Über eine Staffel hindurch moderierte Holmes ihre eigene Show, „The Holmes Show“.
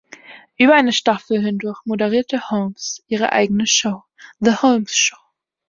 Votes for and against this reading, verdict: 3, 0, accepted